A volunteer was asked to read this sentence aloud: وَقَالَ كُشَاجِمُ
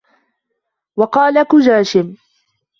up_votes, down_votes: 0, 2